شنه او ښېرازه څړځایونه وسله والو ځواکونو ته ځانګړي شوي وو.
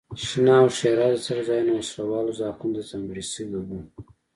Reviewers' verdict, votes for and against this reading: accepted, 2, 0